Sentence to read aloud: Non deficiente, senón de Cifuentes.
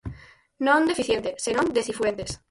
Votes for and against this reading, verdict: 0, 4, rejected